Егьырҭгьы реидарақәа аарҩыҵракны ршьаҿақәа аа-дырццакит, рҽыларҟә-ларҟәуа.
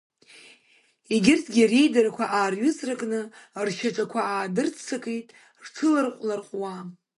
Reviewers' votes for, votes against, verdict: 2, 0, accepted